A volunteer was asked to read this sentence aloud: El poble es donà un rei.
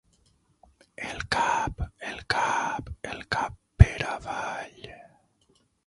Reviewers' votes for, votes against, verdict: 0, 6, rejected